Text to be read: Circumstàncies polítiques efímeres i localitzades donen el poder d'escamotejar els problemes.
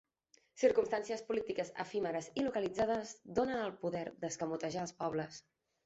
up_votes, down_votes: 0, 2